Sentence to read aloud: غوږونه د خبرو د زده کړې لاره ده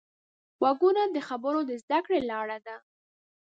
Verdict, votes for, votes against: rejected, 1, 2